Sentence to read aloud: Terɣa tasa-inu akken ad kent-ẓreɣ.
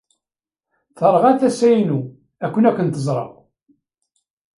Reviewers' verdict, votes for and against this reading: rejected, 0, 2